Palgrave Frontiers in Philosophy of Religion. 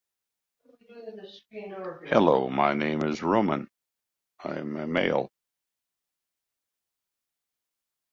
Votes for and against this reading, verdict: 0, 2, rejected